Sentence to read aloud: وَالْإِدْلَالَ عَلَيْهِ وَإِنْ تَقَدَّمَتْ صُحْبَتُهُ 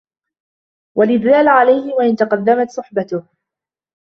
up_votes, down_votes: 2, 0